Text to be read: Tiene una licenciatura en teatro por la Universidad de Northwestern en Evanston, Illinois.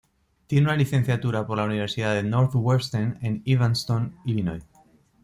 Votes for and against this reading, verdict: 1, 2, rejected